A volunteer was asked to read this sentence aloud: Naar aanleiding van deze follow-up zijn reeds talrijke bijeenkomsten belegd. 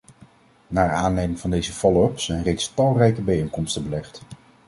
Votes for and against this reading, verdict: 2, 0, accepted